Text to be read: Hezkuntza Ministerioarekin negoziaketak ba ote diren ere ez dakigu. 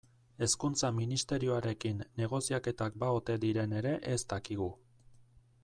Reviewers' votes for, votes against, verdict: 2, 0, accepted